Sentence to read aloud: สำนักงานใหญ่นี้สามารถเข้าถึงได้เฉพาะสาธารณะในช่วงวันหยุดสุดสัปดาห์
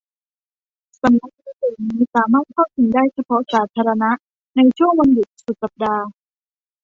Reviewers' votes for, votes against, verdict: 0, 2, rejected